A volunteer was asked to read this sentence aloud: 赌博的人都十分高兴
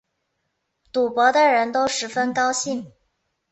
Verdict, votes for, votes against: accepted, 6, 0